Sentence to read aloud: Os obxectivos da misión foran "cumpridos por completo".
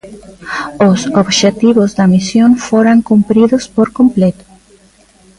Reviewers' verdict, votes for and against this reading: accepted, 2, 0